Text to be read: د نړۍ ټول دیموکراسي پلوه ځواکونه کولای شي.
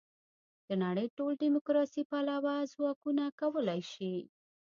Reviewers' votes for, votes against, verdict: 2, 1, accepted